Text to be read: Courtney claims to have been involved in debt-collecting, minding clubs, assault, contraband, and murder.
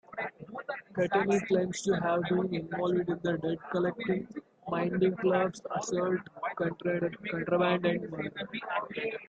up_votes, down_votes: 2, 1